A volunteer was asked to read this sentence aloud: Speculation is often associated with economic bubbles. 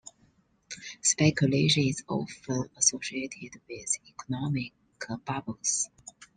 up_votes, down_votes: 2, 1